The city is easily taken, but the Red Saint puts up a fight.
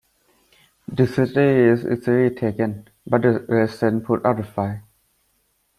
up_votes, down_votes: 1, 2